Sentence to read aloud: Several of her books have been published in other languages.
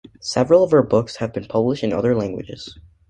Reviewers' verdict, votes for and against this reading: accepted, 2, 0